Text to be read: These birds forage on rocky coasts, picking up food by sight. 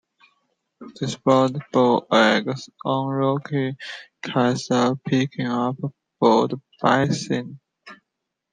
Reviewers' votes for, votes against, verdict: 0, 2, rejected